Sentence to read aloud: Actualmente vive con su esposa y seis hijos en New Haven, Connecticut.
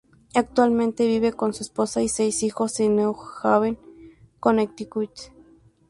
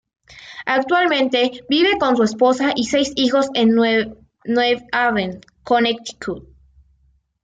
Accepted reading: first